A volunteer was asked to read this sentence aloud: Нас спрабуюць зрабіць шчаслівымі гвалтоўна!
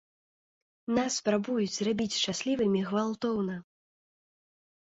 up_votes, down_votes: 2, 0